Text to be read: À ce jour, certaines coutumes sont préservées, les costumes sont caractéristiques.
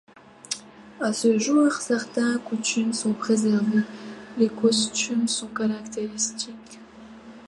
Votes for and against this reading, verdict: 1, 2, rejected